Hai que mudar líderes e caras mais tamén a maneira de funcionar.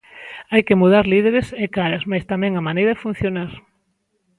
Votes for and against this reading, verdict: 2, 0, accepted